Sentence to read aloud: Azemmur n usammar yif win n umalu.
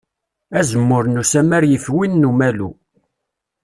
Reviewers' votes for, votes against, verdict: 2, 0, accepted